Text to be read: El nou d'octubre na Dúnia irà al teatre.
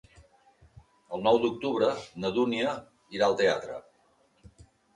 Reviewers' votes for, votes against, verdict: 2, 0, accepted